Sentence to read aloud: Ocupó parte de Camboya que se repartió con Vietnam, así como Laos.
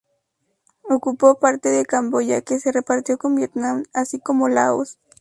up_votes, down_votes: 2, 0